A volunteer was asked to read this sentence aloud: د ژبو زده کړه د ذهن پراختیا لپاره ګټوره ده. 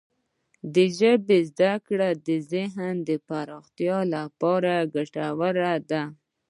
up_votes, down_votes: 2, 0